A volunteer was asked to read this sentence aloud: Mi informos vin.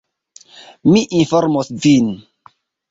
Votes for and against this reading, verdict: 2, 0, accepted